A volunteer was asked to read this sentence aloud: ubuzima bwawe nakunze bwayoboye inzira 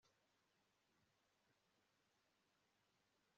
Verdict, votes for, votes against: rejected, 1, 2